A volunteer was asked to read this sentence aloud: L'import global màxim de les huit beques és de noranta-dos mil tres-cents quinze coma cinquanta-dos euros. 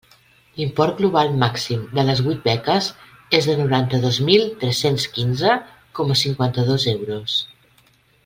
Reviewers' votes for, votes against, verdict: 2, 0, accepted